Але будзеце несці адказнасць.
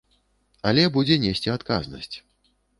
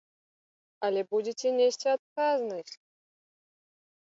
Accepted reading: second